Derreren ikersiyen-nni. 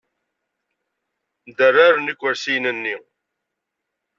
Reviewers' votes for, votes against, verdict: 2, 0, accepted